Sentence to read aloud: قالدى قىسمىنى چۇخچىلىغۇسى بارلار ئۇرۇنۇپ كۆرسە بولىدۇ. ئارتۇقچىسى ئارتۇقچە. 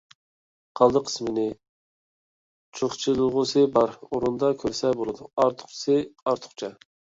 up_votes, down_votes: 0, 2